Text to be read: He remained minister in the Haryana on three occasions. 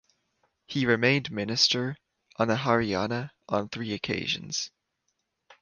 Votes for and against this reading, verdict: 0, 2, rejected